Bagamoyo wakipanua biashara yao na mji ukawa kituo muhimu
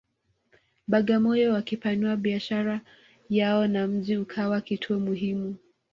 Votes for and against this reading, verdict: 2, 1, accepted